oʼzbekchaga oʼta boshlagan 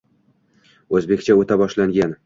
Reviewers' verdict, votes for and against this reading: rejected, 1, 2